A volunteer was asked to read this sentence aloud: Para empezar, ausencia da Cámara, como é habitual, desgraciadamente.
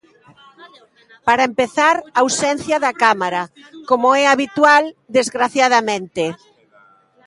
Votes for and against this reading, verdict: 2, 0, accepted